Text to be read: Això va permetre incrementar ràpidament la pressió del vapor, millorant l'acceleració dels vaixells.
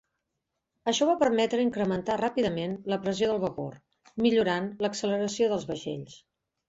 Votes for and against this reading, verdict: 3, 0, accepted